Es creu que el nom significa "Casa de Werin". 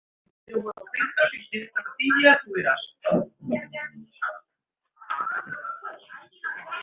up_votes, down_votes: 0, 2